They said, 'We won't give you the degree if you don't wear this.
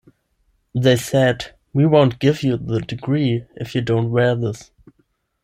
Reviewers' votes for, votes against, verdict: 10, 0, accepted